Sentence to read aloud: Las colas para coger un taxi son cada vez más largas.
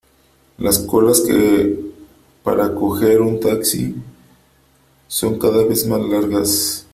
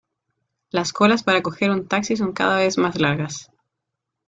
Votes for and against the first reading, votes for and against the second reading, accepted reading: 0, 3, 2, 0, second